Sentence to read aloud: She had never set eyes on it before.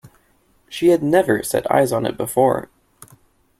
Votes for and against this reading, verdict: 2, 0, accepted